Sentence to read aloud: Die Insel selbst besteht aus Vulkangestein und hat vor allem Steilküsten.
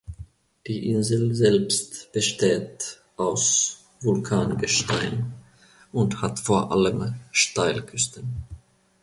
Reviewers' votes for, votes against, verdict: 1, 2, rejected